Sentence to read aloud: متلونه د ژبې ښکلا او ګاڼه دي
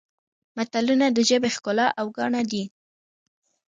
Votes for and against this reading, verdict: 0, 2, rejected